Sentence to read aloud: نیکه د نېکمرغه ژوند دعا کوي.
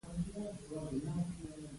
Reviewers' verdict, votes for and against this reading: rejected, 1, 2